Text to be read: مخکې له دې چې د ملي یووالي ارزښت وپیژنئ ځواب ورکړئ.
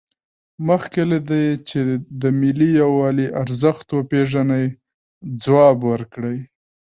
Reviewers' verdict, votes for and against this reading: rejected, 0, 2